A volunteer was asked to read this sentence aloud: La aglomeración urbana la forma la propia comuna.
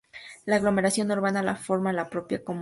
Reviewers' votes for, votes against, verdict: 2, 0, accepted